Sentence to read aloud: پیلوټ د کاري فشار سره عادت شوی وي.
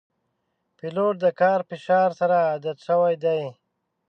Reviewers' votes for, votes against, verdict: 1, 2, rejected